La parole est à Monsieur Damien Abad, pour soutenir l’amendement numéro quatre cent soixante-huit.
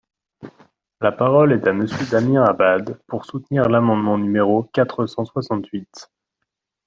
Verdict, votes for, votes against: rejected, 1, 2